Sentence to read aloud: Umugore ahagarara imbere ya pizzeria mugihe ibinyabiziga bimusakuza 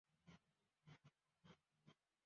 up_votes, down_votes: 0, 2